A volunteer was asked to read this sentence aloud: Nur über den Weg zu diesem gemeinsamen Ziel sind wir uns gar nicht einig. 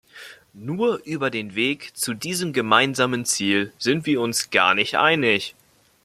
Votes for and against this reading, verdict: 2, 0, accepted